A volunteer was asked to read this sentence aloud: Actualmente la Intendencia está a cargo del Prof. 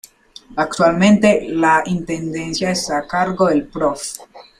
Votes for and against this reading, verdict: 2, 1, accepted